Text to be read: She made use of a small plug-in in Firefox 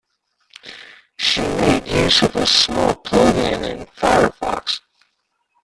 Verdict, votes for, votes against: rejected, 0, 2